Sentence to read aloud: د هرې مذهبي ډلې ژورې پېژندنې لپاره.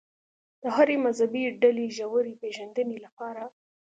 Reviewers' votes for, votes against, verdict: 2, 0, accepted